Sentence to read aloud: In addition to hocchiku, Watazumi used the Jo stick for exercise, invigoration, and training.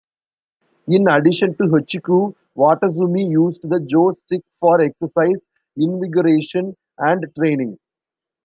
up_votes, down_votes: 2, 0